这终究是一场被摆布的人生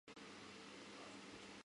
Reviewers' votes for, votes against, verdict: 1, 4, rejected